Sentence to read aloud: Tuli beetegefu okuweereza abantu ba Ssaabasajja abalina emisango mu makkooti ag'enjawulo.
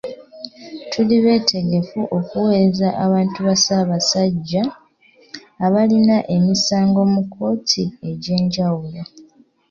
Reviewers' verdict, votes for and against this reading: rejected, 0, 2